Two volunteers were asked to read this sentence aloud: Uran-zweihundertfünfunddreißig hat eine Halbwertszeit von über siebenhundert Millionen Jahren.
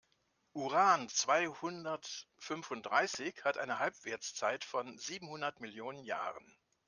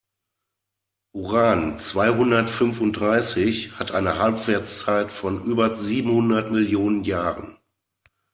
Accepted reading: second